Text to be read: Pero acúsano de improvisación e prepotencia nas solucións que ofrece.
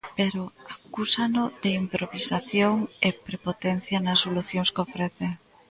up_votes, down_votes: 1, 2